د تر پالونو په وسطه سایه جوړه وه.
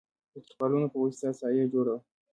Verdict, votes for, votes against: rejected, 1, 2